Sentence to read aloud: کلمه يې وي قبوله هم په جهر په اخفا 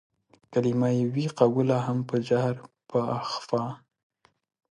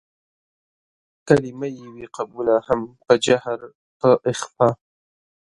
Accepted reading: second